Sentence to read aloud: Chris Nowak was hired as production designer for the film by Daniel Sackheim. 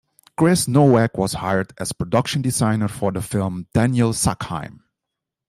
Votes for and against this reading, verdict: 1, 2, rejected